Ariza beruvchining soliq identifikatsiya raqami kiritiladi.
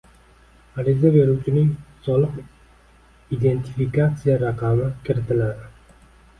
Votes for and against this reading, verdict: 2, 0, accepted